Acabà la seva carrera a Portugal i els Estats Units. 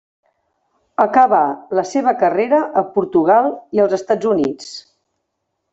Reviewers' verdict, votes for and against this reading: rejected, 1, 2